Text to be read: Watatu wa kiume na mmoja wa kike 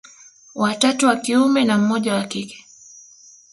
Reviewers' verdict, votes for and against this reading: rejected, 1, 2